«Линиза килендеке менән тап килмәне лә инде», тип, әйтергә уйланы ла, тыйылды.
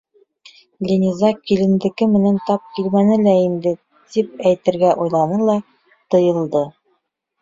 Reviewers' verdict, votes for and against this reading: rejected, 1, 2